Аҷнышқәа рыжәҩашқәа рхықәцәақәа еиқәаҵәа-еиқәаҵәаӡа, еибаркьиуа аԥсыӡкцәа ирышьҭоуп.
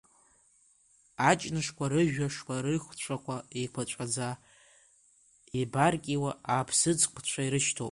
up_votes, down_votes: 1, 2